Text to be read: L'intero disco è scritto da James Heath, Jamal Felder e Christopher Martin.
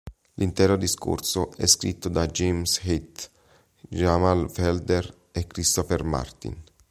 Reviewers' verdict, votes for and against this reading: rejected, 1, 3